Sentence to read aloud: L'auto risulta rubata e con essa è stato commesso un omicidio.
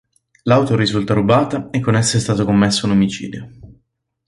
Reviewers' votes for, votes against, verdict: 3, 0, accepted